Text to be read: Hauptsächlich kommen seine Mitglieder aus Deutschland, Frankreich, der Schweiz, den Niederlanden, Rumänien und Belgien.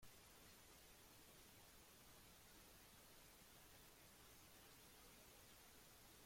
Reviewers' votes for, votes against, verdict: 1, 2, rejected